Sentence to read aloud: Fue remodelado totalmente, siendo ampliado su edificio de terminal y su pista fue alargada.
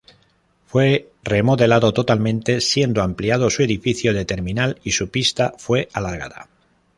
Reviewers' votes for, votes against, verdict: 2, 0, accepted